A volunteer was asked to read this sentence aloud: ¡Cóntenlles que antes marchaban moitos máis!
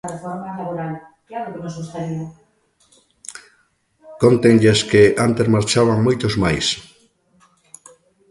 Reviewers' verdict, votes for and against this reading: rejected, 0, 2